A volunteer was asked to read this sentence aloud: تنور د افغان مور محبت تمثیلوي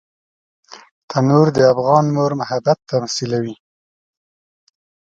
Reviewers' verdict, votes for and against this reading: accepted, 2, 0